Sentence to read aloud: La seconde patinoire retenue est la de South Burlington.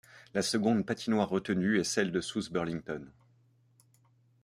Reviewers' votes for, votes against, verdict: 1, 2, rejected